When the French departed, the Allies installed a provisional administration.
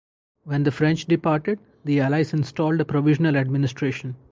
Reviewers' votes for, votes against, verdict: 2, 0, accepted